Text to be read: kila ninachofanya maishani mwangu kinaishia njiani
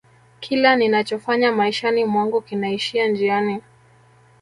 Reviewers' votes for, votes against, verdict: 1, 2, rejected